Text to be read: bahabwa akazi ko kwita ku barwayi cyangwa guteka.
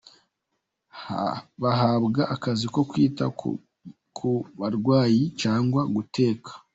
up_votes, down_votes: 1, 2